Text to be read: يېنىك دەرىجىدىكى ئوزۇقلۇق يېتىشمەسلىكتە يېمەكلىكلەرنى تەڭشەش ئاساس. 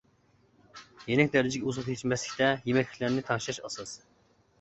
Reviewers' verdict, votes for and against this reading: accepted, 2, 1